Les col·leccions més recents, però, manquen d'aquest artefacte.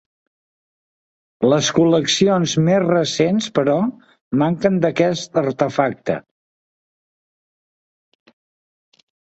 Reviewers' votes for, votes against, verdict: 2, 0, accepted